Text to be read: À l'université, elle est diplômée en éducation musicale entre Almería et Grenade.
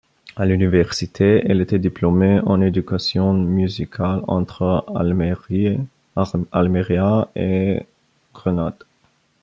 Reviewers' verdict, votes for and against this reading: rejected, 0, 2